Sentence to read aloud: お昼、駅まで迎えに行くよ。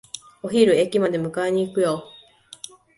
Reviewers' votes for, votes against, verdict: 2, 0, accepted